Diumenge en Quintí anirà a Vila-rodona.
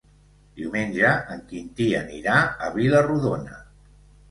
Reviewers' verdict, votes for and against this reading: accepted, 2, 0